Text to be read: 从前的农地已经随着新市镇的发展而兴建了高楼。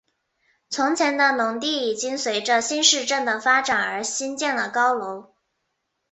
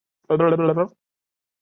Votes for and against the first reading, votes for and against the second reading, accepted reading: 2, 0, 1, 2, first